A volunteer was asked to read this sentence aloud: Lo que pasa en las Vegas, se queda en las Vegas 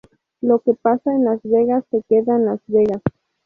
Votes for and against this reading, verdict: 0, 2, rejected